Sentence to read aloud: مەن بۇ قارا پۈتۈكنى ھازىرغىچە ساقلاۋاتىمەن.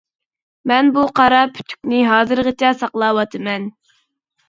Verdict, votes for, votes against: accepted, 2, 0